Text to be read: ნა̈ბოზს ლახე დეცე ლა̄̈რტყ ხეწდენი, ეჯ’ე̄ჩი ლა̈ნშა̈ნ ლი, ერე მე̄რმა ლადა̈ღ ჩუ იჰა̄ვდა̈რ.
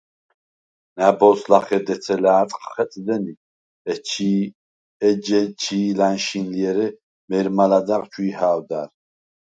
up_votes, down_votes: 0, 4